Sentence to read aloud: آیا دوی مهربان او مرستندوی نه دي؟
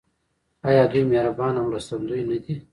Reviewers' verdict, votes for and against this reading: rejected, 0, 2